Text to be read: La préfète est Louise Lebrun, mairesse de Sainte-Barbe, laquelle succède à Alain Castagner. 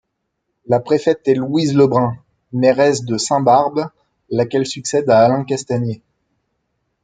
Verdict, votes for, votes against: rejected, 1, 2